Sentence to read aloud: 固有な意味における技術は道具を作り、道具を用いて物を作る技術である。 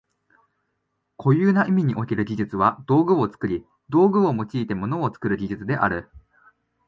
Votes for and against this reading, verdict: 2, 0, accepted